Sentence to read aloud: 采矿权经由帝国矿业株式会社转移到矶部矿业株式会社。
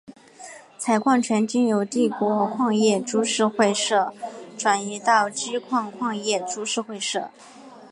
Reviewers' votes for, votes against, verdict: 4, 1, accepted